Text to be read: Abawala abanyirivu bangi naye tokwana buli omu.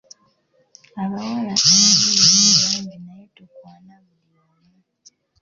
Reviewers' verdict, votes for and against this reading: rejected, 0, 2